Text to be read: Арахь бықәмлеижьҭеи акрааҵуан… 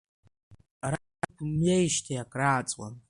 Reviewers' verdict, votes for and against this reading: rejected, 0, 2